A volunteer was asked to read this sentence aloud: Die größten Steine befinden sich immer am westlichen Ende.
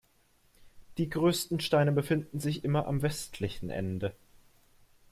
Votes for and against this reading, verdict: 2, 0, accepted